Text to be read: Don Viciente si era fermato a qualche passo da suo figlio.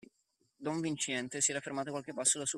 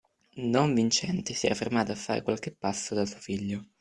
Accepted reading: second